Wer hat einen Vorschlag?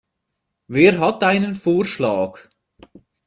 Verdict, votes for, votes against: accepted, 2, 0